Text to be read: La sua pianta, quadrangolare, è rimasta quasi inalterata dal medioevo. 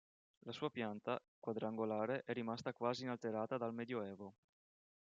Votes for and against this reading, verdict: 2, 1, accepted